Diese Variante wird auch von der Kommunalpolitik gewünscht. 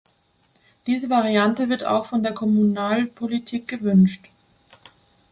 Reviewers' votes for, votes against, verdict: 2, 0, accepted